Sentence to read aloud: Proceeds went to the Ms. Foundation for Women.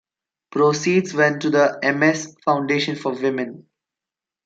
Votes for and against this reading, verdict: 0, 2, rejected